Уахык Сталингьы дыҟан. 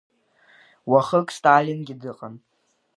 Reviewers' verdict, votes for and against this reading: accepted, 2, 0